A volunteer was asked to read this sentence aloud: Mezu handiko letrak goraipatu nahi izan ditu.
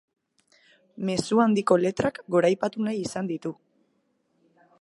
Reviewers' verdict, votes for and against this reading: accepted, 3, 0